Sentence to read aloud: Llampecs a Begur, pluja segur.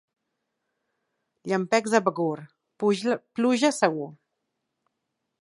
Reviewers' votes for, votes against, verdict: 0, 2, rejected